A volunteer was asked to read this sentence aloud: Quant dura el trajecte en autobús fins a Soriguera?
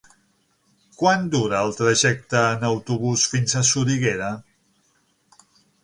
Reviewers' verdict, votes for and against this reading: accepted, 6, 0